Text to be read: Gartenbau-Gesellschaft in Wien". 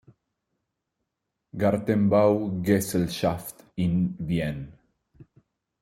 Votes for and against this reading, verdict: 1, 2, rejected